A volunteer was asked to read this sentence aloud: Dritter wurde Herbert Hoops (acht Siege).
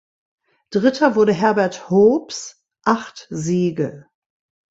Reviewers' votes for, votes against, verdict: 2, 0, accepted